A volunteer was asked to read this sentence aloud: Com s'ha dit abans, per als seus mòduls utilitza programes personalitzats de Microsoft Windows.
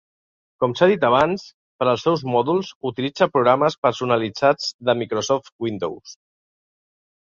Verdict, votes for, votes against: accepted, 3, 0